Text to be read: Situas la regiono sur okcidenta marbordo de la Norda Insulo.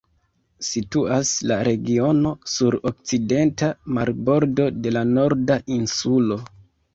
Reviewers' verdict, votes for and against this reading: accepted, 2, 0